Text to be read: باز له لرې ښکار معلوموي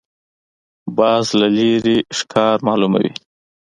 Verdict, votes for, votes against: accepted, 2, 1